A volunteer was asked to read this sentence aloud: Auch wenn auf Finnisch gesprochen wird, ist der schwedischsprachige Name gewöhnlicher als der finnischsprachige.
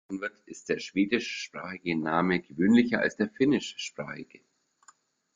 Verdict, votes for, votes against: rejected, 0, 2